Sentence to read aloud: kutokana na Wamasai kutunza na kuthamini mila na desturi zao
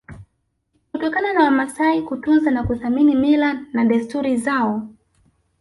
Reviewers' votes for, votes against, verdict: 2, 1, accepted